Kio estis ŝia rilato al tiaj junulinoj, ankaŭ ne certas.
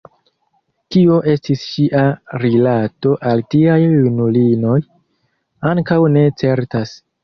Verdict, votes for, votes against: accepted, 2, 0